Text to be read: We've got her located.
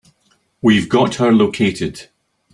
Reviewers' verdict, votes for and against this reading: accepted, 3, 0